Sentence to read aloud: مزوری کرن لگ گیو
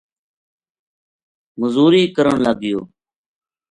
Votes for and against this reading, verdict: 2, 0, accepted